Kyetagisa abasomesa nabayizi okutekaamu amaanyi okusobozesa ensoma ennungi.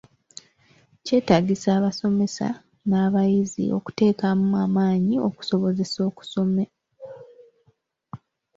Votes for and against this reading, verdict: 0, 2, rejected